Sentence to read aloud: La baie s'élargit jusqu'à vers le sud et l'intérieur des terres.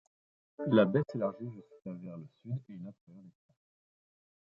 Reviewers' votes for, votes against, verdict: 0, 2, rejected